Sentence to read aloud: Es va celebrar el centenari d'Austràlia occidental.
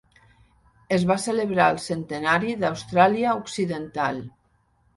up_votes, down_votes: 2, 0